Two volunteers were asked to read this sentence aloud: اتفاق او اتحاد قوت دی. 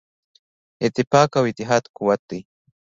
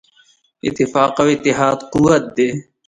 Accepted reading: second